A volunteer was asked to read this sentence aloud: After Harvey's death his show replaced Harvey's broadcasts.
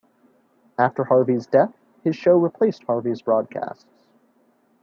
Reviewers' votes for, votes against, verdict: 2, 0, accepted